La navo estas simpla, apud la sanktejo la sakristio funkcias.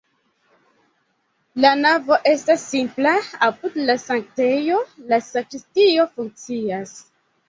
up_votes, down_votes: 3, 0